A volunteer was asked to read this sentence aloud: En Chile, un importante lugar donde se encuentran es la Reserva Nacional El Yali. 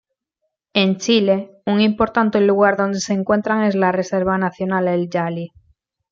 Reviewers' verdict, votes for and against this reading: rejected, 1, 2